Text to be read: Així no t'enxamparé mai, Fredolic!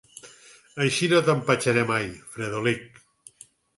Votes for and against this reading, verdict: 2, 4, rejected